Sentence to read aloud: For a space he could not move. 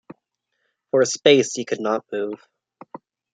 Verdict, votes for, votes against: accepted, 2, 0